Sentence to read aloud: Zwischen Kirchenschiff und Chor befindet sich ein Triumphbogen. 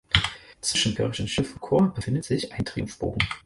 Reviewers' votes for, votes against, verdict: 2, 4, rejected